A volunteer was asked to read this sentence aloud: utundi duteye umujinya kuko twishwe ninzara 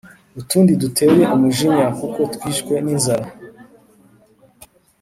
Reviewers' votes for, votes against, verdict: 3, 1, accepted